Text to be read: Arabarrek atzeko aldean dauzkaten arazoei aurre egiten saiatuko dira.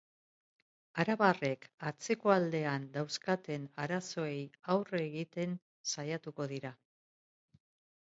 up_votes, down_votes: 4, 1